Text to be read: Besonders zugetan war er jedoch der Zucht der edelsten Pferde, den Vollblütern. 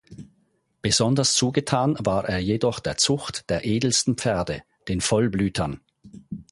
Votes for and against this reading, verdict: 4, 0, accepted